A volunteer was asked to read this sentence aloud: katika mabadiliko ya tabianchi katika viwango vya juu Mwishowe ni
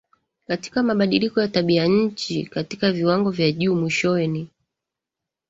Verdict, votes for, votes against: accepted, 2, 0